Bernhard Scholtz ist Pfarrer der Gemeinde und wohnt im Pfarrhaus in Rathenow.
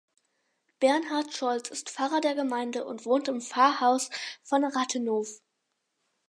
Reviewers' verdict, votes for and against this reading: rejected, 2, 4